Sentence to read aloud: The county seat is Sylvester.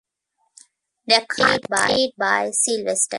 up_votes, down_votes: 0, 2